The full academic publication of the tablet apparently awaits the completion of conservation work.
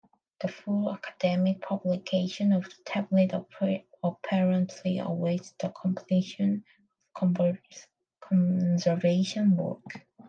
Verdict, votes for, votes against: rejected, 1, 3